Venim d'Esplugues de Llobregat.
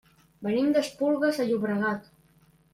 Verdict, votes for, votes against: rejected, 1, 2